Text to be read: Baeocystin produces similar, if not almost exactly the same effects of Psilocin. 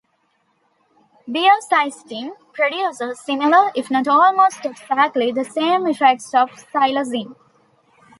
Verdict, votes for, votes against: rejected, 0, 2